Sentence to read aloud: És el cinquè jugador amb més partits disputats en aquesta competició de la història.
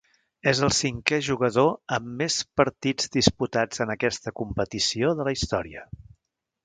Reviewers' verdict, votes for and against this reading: accepted, 4, 0